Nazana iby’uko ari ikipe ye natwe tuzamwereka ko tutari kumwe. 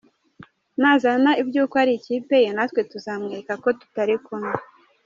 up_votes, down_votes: 1, 2